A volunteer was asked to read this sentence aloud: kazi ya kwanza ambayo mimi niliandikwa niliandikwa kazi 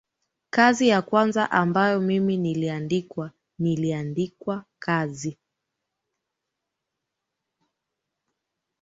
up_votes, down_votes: 2, 0